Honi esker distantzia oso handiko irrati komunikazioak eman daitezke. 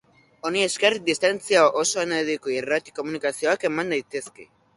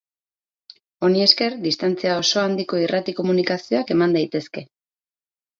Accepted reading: second